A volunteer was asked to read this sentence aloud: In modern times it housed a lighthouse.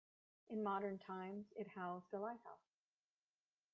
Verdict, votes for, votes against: rejected, 1, 2